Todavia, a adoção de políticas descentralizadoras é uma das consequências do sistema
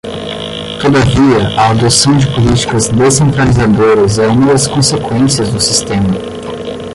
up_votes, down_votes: 5, 10